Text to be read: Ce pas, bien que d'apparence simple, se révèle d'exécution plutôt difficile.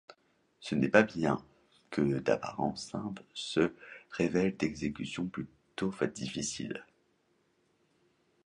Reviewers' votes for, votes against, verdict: 0, 2, rejected